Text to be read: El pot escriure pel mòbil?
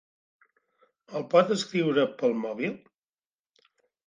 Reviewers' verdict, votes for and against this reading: accepted, 2, 0